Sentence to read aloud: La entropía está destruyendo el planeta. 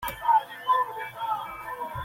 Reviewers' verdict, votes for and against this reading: rejected, 0, 2